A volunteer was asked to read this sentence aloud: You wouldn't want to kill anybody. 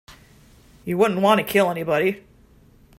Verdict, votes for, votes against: accepted, 2, 0